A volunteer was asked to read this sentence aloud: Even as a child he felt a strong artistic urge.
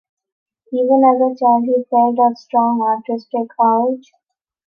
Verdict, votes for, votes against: rejected, 0, 2